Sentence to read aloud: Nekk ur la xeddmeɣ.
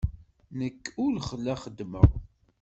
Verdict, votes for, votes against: rejected, 0, 2